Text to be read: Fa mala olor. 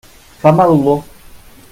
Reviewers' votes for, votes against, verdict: 2, 0, accepted